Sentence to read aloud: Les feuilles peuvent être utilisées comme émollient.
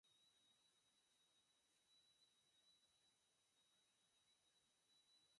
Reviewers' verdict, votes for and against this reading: rejected, 0, 4